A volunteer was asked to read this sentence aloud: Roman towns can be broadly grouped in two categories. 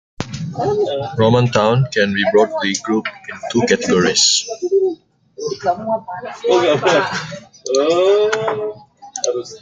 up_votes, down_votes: 0, 2